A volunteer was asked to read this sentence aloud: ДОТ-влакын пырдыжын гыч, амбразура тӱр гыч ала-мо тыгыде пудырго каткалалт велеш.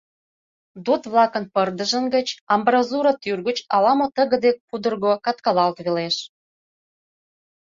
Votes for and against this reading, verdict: 2, 0, accepted